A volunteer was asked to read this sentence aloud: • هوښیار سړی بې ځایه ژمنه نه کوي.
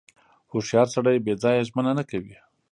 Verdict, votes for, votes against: accepted, 2, 0